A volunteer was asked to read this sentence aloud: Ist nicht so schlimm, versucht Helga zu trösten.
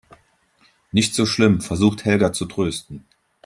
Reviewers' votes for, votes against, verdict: 1, 2, rejected